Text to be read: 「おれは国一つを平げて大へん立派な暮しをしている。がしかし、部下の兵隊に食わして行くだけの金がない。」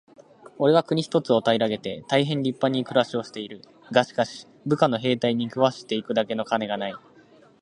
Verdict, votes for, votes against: rejected, 1, 2